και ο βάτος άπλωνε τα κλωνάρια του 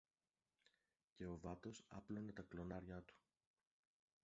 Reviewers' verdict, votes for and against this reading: rejected, 1, 2